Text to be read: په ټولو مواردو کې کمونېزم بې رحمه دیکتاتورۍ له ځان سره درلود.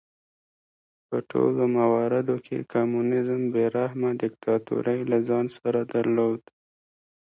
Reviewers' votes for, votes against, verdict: 1, 2, rejected